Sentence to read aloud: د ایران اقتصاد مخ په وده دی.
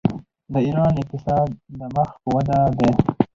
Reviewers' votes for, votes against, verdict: 4, 0, accepted